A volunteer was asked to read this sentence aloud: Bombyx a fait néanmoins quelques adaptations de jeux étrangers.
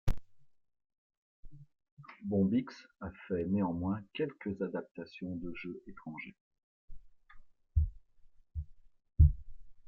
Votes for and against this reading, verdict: 2, 0, accepted